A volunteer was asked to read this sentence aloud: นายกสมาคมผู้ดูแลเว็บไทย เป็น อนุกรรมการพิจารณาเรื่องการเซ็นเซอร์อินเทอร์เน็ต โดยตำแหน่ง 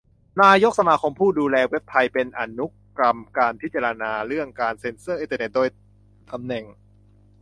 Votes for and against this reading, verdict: 1, 2, rejected